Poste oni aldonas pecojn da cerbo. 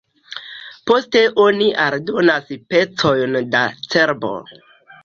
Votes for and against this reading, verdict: 2, 0, accepted